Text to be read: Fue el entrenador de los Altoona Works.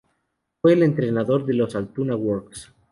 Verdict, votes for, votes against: accepted, 2, 0